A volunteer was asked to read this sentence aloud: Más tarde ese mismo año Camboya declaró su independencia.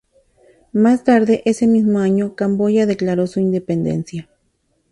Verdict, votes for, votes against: accepted, 2, 0